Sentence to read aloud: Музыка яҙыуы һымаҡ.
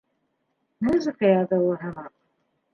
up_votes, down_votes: 2, 1